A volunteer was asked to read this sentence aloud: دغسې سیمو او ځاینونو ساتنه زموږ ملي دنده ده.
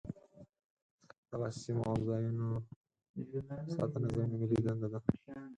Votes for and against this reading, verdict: 0, 4, rejected